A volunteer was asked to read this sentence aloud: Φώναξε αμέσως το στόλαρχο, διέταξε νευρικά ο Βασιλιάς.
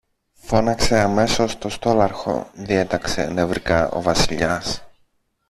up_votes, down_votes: 1, 2